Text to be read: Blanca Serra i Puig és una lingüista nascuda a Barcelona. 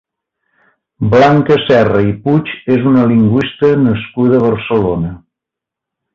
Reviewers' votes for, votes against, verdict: 2, 0, accepted